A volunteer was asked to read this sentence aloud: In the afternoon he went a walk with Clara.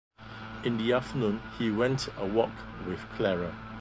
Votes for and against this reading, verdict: 0, 2, rejected